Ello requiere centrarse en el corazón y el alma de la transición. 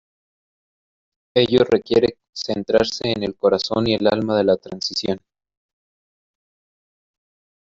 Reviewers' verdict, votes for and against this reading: accepted, 2, 1